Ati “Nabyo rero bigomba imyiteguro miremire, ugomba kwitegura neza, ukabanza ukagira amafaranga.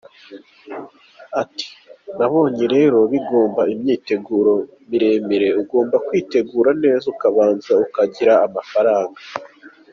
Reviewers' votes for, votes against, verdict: 2, 1, accepted